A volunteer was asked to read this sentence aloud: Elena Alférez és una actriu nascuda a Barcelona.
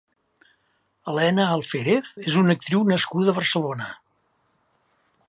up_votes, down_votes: 4, 0